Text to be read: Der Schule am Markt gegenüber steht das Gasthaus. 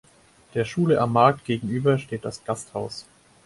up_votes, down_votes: 2, 4